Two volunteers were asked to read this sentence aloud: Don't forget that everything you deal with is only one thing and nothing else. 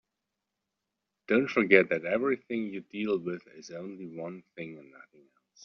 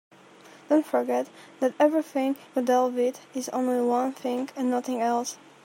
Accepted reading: second